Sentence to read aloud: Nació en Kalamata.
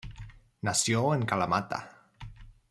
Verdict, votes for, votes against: accepted, 2, 0